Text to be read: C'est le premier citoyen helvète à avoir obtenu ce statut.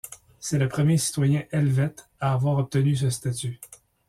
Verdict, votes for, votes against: accepted, 2, 0